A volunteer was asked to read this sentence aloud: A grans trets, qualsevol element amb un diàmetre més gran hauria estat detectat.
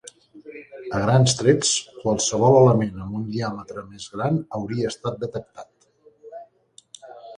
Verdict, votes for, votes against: rejected, 2, 4